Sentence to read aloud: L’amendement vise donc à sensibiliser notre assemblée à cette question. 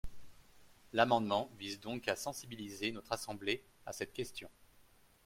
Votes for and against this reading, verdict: 3, 0, accepted